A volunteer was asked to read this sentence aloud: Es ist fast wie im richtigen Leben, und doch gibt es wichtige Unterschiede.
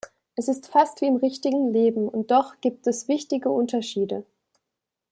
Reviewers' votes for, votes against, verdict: 2, 0, accepted